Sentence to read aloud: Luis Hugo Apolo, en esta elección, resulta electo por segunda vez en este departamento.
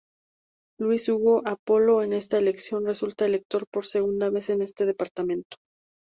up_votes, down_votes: 2, 2